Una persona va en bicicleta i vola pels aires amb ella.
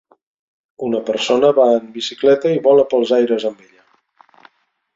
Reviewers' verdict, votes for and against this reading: rejected, 1, 2